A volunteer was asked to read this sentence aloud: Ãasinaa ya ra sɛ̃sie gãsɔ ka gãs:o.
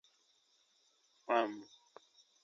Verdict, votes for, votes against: rejected, 1, 2